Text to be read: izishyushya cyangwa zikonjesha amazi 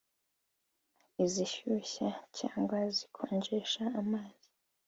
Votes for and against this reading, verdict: 2, 1, accepted